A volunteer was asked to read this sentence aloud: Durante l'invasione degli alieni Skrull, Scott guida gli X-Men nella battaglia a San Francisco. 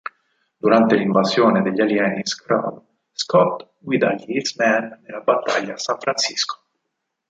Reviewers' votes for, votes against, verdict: 2, 4, rejected